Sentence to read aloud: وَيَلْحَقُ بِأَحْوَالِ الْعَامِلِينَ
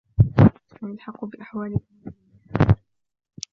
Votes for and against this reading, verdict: 2, 1, accepted